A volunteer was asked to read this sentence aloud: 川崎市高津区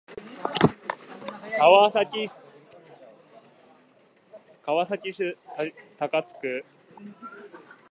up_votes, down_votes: 0, 2